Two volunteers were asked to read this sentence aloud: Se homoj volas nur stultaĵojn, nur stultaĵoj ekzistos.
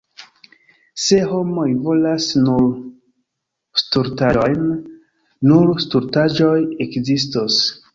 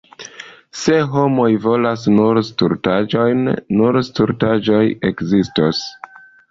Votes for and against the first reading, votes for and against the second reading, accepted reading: 1, 2, 2, 0, second